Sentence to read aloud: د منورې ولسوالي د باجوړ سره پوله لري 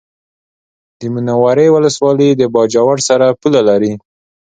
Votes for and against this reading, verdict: 2, 0, accepted